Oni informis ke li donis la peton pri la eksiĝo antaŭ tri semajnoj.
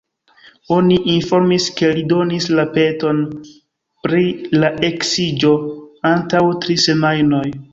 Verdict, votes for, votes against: accepted, 2, 0